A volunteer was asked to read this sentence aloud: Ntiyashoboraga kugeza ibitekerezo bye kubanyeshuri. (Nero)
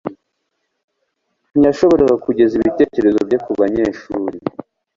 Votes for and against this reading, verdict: 1, 2, rejected